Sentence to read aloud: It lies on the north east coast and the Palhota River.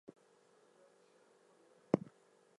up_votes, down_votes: 0, 4